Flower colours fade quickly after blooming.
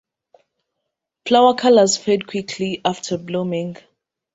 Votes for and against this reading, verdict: 2, 0, accepted